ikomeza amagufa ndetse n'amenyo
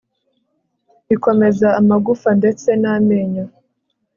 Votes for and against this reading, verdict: 3, 0, accepted